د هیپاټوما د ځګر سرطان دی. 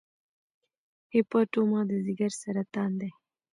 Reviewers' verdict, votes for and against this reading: accepted, 2, 0